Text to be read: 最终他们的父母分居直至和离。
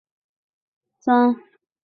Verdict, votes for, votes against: rejected, 0, 2